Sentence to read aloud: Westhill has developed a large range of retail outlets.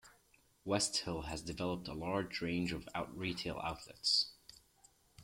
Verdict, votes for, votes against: rejected, 1, 2